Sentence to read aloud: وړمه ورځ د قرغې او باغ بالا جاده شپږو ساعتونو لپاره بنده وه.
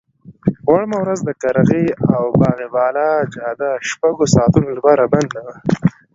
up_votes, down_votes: 1, 2